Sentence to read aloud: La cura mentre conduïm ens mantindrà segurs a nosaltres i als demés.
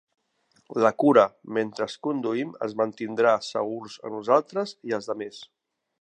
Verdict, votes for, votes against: rejected, 0, 2